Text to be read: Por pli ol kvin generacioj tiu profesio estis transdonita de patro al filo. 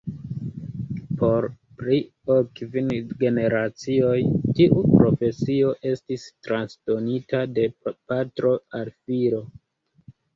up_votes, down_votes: 0, 2